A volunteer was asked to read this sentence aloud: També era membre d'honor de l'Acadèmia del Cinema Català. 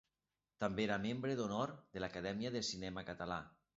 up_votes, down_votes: 0, 2